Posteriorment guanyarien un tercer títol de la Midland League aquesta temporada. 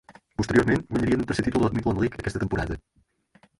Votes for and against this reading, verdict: 2, 6, rejected